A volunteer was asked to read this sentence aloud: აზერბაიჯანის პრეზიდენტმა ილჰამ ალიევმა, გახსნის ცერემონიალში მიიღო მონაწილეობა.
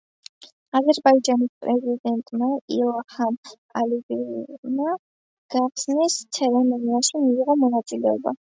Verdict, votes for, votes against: rejected, 1, 2